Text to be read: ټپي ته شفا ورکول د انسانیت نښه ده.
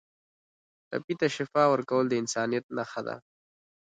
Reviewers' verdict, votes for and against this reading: accepted, 2, 0